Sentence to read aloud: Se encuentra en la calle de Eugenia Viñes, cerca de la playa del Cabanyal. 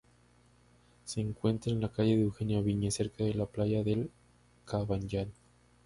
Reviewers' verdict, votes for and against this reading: rejected, 0, 2